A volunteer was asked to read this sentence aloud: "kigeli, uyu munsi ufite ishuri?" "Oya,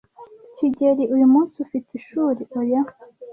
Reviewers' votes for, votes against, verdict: 2, 0, accepted